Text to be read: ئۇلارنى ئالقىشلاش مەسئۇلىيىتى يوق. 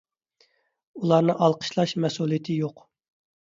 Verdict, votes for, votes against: accepted, 2, 0